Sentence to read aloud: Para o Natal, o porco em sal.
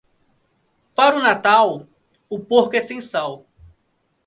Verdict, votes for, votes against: rejected, 0, 2